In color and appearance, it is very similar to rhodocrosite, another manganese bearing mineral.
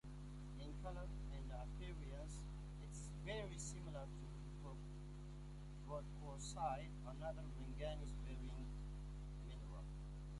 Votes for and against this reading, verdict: 2, 1, accepted